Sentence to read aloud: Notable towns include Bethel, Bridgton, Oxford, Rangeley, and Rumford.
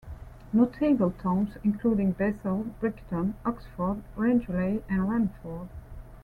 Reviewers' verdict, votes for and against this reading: rejected, 0, 2